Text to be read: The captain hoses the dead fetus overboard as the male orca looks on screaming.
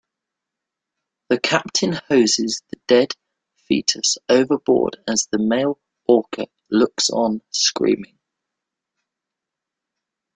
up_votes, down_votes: 2, 0